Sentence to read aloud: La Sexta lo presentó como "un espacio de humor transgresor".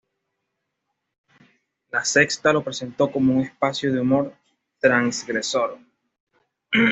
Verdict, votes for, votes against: accepted, 2, 0